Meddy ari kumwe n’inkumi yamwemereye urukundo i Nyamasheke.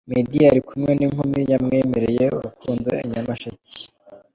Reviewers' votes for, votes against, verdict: 2, 0, accepted